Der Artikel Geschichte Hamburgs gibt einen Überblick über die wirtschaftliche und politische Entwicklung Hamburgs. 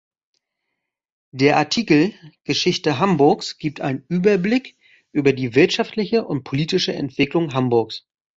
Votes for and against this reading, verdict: 2, 0, accepted